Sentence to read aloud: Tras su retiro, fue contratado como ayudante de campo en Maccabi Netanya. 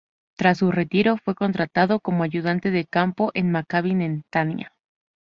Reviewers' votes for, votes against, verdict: 2, 2, rejected